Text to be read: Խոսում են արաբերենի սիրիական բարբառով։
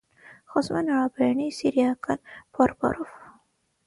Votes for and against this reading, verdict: 3, 6, rejected